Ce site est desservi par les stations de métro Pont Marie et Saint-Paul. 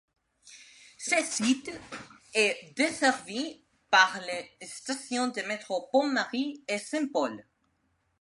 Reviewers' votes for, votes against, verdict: 2, 0, accepted